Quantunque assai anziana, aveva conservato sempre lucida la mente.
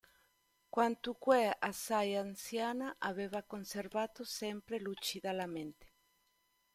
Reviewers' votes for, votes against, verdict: 2, 0, accepted